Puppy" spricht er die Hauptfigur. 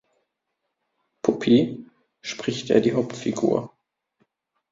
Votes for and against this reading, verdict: 1, 2, rejected